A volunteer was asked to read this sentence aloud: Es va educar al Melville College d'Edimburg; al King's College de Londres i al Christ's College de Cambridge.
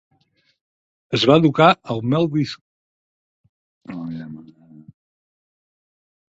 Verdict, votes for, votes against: rejected, 0, 4